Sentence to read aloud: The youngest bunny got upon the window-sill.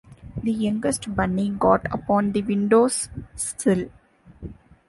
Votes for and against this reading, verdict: 2, 0, accepted